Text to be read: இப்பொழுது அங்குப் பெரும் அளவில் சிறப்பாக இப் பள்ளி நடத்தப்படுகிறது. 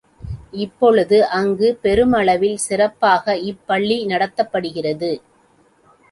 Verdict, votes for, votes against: accepted, 2, 1